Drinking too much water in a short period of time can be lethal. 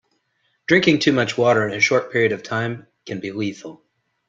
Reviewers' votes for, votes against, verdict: 2, 0, accepted